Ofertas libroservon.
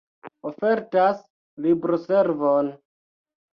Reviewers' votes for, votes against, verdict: 2, 0, accepted